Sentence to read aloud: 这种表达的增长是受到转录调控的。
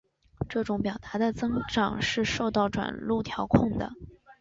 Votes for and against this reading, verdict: 3, 0, accepted